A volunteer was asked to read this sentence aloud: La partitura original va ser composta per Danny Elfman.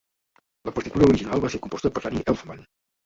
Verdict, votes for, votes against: rejected, 0, 2